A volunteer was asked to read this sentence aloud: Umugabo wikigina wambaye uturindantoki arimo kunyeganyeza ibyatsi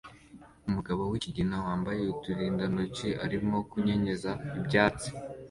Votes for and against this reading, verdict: 2, 1, accepted